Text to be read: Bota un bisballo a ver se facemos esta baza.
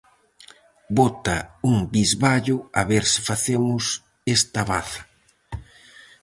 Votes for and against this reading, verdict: 4, 0, accepted